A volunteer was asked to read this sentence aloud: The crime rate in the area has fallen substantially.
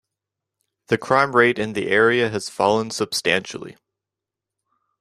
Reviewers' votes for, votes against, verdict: 2, 0, accepted